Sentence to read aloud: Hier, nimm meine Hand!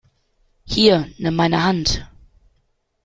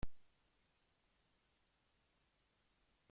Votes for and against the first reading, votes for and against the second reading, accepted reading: 2, 0, 0, 2, first